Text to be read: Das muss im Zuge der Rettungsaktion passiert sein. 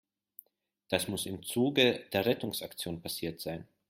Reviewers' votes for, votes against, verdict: 2, 0, accepted